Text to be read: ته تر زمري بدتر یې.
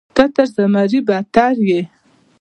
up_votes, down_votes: 1, 2